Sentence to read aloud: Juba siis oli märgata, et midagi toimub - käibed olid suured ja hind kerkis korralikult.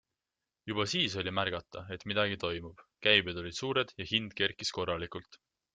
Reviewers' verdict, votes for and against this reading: accepted, 3, 0